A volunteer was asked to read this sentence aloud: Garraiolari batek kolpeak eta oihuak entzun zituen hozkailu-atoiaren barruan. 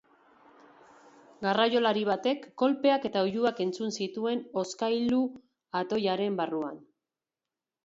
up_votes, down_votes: 3, 1